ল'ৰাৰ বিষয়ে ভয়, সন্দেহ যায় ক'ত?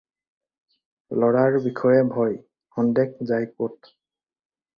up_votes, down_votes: 4, 0